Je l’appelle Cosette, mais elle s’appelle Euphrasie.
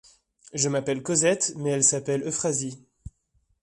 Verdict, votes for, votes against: rejected, 1, 2